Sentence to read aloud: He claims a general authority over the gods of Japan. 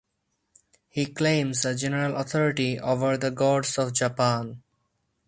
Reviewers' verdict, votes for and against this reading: accepted, 4, 0